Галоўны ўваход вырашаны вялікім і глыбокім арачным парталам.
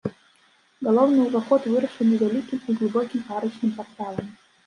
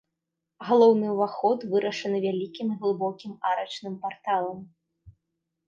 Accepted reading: second